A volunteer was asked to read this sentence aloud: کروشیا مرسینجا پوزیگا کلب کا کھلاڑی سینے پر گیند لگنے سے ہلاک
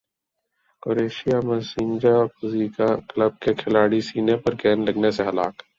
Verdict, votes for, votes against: accepted, 6, 0